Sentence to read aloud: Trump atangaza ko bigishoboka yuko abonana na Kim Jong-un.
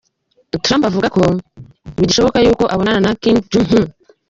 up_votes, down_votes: 0, 2